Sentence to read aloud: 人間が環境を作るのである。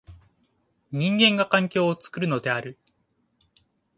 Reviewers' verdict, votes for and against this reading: accepted, 2, 0